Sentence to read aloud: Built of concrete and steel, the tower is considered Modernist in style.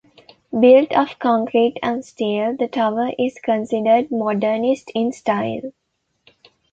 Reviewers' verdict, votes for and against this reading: accepted, 2, 0